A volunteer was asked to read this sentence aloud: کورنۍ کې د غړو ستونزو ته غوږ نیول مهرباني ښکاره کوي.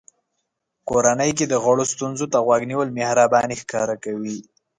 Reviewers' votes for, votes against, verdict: 3, 1, accepted